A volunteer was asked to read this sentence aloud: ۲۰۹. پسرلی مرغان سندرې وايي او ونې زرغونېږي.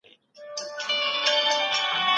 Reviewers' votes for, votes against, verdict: 0, 2, rejected